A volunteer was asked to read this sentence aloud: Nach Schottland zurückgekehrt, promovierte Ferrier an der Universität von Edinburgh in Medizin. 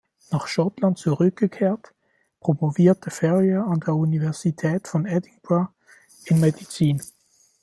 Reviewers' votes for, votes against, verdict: 1, 2, rejected